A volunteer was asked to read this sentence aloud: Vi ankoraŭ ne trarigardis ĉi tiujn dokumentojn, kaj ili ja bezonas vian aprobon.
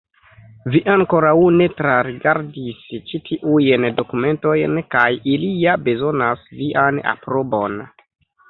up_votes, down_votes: 0, 2